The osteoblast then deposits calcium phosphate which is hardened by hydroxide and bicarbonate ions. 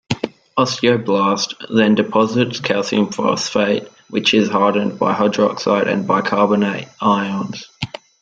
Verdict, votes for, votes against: rejected, 0, 2